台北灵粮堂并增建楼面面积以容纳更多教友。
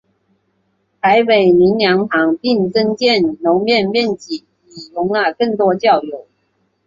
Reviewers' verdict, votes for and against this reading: accepted, 6, 1